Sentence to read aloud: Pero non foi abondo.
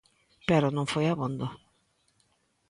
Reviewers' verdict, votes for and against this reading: accepted, 2, 0